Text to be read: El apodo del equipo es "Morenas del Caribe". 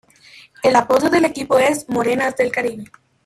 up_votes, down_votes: 2, 1